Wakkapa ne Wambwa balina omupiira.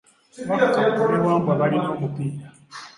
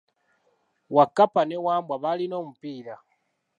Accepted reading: second